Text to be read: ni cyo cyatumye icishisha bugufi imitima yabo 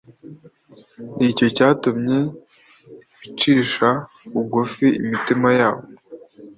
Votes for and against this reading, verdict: 2, 0, accepted